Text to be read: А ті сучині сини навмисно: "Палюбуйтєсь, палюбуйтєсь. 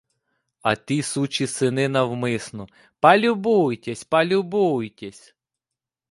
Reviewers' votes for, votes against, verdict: 1, 2, rejected